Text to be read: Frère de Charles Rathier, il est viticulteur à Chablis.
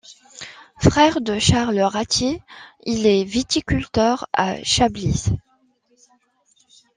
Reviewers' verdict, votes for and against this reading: accepted, 2, 0